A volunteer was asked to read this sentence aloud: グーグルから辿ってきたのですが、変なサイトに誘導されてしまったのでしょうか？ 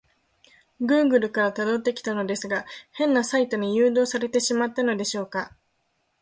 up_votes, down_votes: 2, 0